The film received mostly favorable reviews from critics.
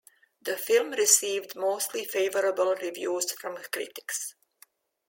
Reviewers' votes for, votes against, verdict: 2, 0, accepted